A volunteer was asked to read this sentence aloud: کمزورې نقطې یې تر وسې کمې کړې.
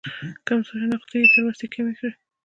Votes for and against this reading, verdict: 2, 0, accepted